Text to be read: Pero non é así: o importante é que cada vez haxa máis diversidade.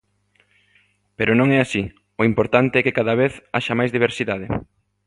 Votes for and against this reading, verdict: 2, 0, accepted